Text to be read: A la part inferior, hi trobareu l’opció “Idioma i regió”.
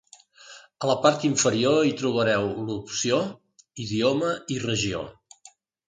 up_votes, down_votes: 2, 0